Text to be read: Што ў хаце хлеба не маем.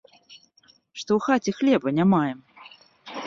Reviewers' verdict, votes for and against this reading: accepted, 2, 0